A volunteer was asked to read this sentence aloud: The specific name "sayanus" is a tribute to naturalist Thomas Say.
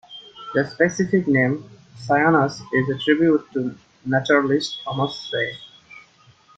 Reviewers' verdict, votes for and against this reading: accepted, 2, 1